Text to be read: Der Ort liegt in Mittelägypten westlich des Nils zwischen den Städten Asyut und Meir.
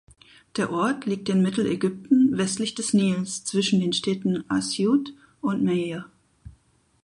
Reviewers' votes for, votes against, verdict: 4, 0, accepted